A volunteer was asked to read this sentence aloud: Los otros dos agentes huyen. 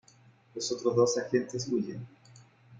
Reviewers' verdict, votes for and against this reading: rejected, 0, 2